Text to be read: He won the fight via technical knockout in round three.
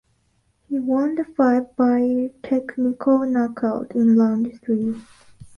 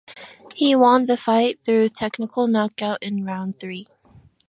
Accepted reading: first